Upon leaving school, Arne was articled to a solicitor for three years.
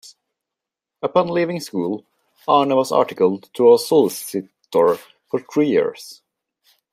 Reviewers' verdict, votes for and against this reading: rejected, 0, 2